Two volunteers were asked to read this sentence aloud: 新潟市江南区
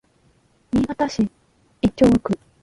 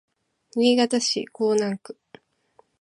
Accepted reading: second